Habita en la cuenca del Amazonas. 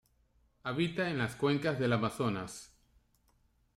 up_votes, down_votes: 0, 2